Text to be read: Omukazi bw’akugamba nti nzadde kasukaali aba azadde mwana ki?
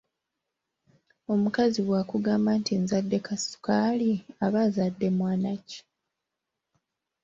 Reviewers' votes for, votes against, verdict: 3, 0, accepted